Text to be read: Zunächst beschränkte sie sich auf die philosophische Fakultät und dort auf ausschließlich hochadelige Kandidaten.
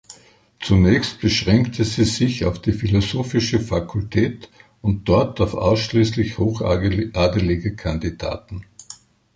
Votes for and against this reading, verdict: 1, 2, rejected